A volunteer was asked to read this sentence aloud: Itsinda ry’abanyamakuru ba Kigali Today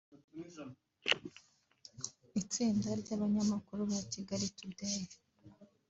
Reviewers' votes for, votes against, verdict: 2, 1, accepted